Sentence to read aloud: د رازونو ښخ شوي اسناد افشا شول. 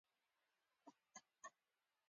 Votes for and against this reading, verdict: 0, 2, rejected